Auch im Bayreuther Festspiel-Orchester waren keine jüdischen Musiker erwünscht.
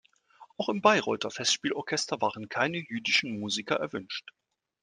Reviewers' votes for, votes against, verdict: 2, 0, accepted